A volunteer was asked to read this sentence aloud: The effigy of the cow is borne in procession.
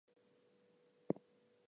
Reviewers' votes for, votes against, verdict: 0, 4, rejected